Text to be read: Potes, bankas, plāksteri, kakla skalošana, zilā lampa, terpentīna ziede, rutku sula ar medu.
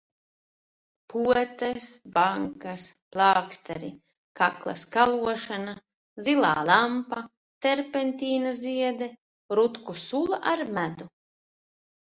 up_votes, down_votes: 2, 0